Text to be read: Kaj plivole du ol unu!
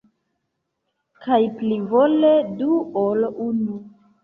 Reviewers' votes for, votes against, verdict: 1, 2, rejected